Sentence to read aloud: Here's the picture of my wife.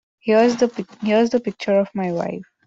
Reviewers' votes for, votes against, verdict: 0, 2, rejected